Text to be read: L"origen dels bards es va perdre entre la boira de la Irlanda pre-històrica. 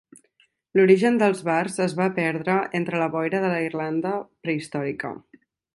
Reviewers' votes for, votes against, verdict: 3, 0, accepted